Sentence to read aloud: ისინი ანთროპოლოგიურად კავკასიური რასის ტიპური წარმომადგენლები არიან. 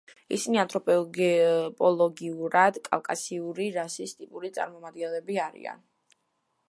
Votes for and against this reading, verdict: 0, 2, rejected